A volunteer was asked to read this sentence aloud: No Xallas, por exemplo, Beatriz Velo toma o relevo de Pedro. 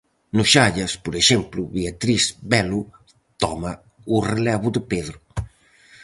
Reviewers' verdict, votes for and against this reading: accepted, 4, 0